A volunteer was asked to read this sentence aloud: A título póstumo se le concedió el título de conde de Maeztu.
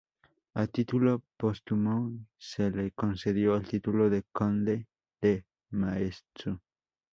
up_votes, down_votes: 2, 0